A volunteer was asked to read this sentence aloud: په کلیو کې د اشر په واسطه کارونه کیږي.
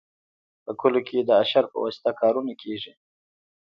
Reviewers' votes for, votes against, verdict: 0, 2, rejected